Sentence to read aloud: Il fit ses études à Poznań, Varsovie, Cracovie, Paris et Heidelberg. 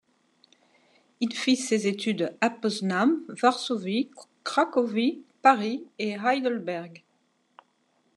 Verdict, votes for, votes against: accepted, 2, 0